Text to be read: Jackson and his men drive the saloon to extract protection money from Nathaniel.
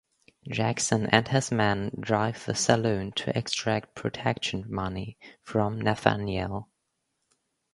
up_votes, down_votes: 2, 0